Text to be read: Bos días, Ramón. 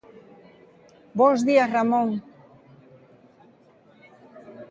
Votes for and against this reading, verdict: 2, 0, accepted